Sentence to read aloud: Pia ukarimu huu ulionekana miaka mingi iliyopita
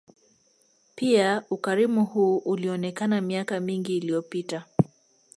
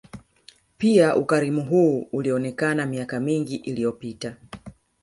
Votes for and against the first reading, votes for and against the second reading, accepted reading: 2, 0, 1, 2, first